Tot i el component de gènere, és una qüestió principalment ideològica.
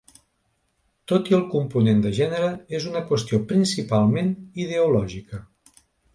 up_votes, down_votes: 2, 0